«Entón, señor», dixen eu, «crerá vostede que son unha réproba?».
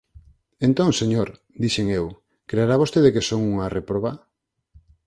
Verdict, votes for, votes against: rejected, 2, 4